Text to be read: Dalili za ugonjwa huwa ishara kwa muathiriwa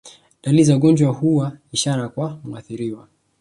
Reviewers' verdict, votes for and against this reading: rejected, 0, 2